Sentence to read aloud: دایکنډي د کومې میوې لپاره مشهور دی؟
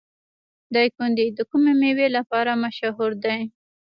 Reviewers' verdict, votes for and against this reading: rejected, 1, 2